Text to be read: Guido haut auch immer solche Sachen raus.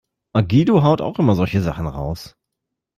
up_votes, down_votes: 2, 0